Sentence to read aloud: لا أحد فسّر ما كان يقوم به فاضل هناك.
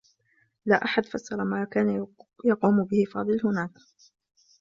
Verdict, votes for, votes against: accepted, 2, 1